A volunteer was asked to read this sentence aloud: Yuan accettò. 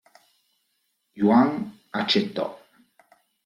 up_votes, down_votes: 2, 0